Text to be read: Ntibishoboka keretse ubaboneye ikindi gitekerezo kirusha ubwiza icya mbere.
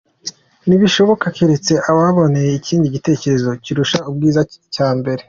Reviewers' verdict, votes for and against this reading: accepted, 2, 0